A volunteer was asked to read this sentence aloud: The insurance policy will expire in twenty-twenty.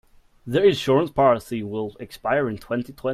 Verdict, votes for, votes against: rejected, 0, 2